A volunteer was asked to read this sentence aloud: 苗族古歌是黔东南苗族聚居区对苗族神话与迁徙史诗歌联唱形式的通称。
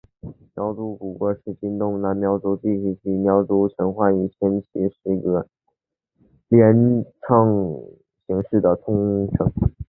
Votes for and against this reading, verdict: 3, 0, accepted